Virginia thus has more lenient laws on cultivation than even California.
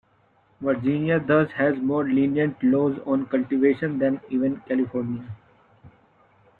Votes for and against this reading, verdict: 2, 1, accepted